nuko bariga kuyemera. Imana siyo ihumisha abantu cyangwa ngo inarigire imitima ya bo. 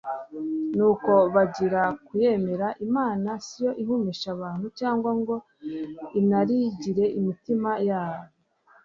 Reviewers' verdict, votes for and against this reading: rejected, 0, 2